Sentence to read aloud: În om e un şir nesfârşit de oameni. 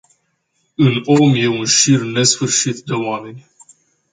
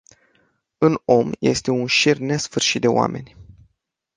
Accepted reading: first